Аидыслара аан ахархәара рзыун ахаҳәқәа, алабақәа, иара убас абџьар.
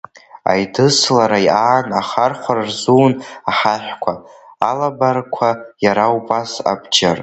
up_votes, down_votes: 1, 2